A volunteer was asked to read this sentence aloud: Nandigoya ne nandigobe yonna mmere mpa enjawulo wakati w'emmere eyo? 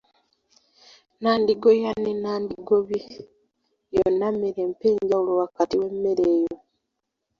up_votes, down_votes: 1, 2